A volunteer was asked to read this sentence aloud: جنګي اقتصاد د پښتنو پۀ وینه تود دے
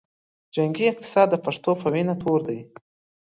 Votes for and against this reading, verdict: 2, 0, accepted